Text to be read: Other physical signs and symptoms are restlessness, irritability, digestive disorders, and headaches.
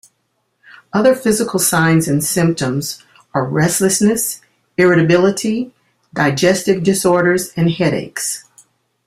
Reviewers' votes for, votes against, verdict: 2, 0, accepted